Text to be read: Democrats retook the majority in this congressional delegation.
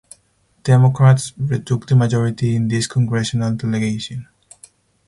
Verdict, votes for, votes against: accepted, 4, 0